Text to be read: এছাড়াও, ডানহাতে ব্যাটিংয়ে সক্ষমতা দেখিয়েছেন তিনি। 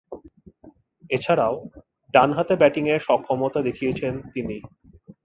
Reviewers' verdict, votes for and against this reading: accepted, 2, 0